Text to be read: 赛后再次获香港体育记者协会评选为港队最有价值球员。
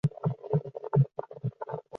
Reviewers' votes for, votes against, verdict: 0, 3, rejected